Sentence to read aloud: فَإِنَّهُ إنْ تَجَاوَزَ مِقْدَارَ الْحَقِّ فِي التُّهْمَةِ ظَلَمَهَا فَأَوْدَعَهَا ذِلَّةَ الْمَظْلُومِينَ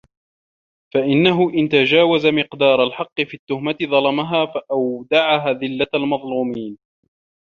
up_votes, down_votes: 2, 0